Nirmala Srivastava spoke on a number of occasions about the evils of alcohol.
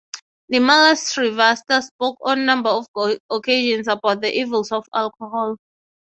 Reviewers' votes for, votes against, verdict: 3, 0, accepted